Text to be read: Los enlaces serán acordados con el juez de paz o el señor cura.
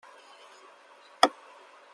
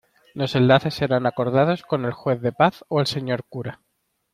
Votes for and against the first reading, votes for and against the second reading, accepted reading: 0, 2, 2, 0, second